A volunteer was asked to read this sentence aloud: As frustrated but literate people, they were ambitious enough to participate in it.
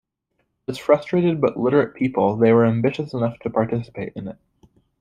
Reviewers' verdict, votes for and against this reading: accepted, 2, 0